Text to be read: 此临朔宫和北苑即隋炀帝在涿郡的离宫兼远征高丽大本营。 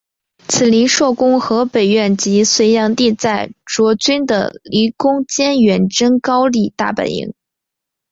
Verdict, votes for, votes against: accepted, 5, 0